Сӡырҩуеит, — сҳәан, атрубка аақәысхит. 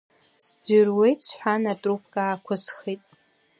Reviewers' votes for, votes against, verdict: 2, 1, accepted